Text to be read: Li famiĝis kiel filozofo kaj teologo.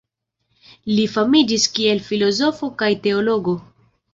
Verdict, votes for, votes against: accepted, 2, 0